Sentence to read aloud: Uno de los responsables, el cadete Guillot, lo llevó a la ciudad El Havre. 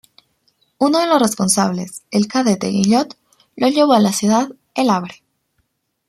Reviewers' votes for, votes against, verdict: 2, 0, accepted